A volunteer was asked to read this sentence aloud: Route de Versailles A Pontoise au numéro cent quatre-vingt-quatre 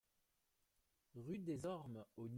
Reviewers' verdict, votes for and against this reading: rejected, 0, 2